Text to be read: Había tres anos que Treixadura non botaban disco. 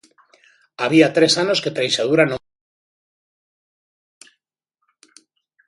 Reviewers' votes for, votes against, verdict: 0, 2, rejected